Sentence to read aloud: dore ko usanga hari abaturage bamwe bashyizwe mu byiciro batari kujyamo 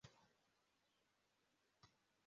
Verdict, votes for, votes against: rejected, 0, 2